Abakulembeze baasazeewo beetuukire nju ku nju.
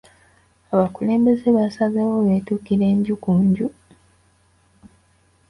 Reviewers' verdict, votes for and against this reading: accepted, 2, 0